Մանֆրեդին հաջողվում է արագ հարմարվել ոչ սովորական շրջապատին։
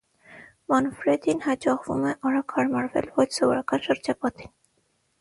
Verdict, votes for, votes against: accepted, 6, 0